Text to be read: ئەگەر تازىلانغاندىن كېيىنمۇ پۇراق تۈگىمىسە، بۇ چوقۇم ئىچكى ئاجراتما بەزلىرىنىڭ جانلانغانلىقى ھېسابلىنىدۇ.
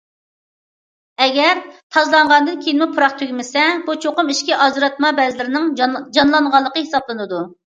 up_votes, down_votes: 0, 2